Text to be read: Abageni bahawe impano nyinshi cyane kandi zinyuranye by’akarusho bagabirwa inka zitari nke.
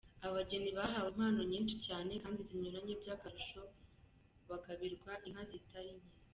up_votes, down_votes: 2, 1